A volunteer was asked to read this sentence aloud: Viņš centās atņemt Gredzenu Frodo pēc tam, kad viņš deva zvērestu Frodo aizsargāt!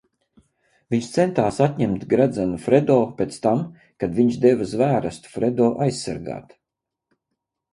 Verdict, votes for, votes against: rejected, 0, 4